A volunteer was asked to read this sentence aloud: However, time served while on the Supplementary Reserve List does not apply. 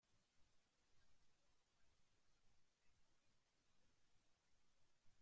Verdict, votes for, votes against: rejected, 0, 2